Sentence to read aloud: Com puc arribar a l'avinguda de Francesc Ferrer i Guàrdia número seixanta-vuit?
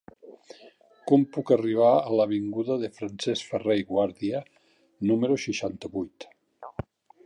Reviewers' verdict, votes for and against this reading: rejected, 1, 2